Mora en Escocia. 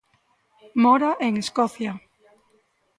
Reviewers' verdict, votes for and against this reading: accepted, 2, 0